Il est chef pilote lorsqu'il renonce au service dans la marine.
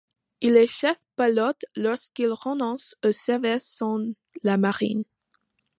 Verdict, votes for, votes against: accepted, 2, 0